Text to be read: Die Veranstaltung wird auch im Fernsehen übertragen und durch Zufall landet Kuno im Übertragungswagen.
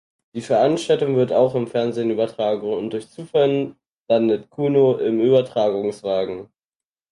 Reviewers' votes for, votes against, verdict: 0, 4, rejected